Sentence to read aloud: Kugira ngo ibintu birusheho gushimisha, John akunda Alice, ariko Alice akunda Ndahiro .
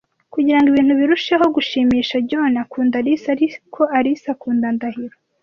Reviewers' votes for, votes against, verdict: 2, 1, accepted